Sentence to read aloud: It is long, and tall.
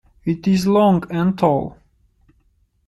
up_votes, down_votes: 2, 1